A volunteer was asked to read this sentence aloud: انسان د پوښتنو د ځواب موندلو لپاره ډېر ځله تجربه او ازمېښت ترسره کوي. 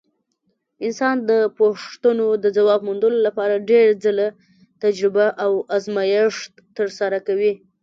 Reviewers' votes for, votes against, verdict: 2, 0, accepted